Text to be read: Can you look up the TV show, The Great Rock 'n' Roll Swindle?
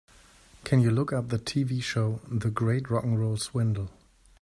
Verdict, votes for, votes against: accepted, 2, 0